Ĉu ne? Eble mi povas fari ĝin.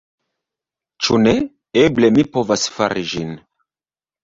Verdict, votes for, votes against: rejected, 0, 2